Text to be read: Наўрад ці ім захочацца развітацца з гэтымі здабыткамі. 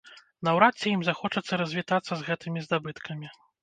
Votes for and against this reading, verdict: 2, 0, accepted